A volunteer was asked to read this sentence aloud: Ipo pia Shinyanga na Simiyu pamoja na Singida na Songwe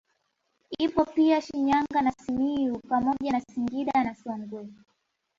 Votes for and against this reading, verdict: 2, 0, accepted